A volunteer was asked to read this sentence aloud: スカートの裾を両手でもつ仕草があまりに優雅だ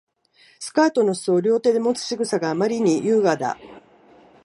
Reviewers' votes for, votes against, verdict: 3, 0, accepted